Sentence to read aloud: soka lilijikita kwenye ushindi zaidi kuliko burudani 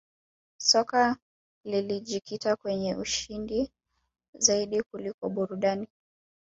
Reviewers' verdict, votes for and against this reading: accepted, 2, 0